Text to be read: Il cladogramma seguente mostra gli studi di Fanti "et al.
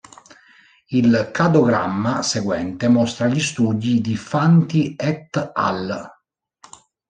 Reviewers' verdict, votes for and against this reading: rejected, 0, 2